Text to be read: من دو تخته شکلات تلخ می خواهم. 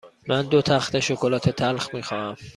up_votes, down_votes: 2, 0